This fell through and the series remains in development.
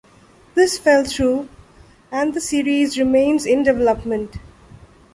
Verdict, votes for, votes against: accepted, 2, 0